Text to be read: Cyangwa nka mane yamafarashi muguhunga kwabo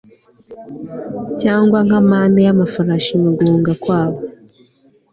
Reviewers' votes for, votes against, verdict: 2, 0, accepted